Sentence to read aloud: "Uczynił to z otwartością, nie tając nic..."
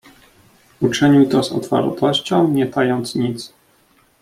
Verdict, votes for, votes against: rejected, 1, 2